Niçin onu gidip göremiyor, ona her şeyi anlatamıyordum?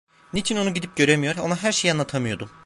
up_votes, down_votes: 0, 2